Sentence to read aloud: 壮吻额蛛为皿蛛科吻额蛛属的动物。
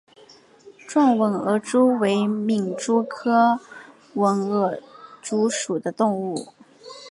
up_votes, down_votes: 2, 0